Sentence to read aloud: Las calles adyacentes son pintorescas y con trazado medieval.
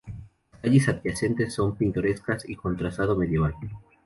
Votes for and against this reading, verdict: 0, 2, rejected